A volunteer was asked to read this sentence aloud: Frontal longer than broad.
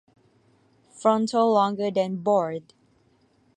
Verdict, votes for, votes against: rejected, 1, 2